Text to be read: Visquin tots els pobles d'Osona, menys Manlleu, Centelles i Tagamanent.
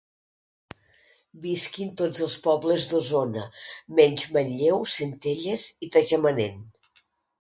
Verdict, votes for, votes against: accepted, 2, 1